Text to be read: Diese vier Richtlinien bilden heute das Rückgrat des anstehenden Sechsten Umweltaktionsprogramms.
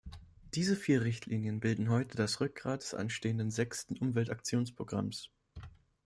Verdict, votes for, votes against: accepted, 2, 0